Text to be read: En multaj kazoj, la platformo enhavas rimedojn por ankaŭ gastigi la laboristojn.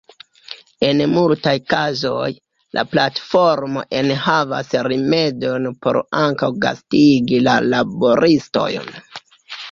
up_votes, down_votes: 1, 2